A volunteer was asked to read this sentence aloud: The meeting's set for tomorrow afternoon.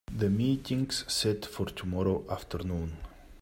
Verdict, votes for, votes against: accepted, 2, 0